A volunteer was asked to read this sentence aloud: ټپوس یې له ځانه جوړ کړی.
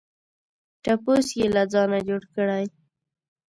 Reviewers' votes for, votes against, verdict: 2, 0, accepted